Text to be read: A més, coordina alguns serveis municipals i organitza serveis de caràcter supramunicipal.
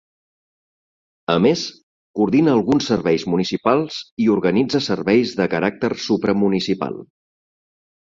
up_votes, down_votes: 2, 1